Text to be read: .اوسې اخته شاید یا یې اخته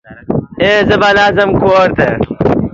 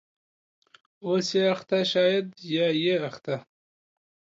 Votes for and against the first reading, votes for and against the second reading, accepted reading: 0, 3, 2, 0, second